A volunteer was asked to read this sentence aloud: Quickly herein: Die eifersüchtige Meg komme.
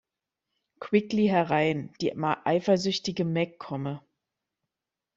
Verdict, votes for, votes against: accepted, 2, 0